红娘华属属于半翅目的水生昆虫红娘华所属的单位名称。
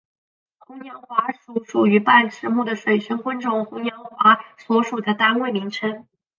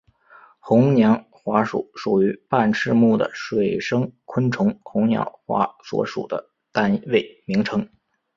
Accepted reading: second